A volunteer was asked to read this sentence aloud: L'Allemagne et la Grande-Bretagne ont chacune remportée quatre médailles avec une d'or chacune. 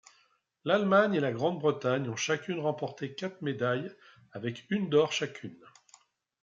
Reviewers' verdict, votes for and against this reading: accepted, 2, 0